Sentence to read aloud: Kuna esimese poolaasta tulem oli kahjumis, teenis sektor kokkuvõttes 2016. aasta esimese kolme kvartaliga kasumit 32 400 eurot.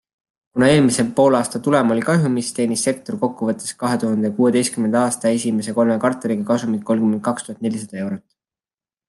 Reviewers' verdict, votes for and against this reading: rejected, 0, 2